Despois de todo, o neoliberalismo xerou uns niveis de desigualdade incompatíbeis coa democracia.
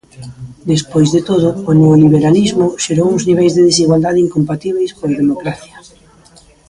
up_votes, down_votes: 1, 2